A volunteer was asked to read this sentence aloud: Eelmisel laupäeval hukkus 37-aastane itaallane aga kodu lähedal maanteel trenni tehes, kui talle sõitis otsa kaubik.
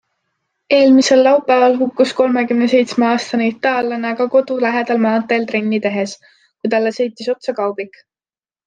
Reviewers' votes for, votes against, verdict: 0, 2, rejected